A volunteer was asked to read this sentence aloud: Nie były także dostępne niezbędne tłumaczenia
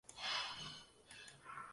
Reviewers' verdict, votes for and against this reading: rejected, 0, 2